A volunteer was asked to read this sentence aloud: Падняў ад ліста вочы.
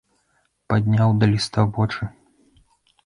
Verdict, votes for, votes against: rejected, 0, 2